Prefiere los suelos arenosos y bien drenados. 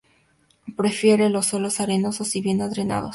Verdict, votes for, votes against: rejected, 0, 2